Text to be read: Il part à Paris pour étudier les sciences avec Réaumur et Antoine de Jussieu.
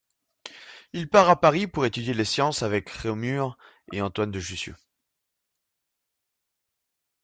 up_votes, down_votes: 2, 0